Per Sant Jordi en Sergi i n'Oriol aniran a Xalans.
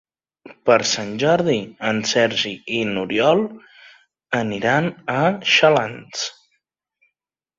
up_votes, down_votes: 3, 0